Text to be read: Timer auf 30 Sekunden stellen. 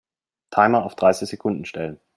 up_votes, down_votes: 0, 2